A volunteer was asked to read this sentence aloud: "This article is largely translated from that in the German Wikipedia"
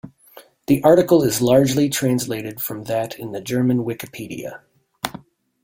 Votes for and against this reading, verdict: 1, 2, rejected